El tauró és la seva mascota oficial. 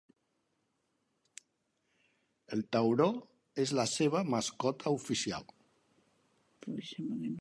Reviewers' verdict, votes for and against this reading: rejected, 1, 2